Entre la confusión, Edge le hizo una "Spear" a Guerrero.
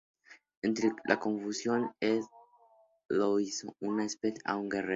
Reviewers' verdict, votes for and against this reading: rejected, 2, 2